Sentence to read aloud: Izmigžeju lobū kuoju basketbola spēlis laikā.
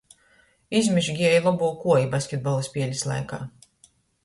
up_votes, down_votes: 0, 2